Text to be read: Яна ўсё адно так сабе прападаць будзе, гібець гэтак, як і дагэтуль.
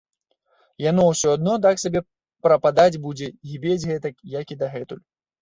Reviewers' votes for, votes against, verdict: 1, 3, rejected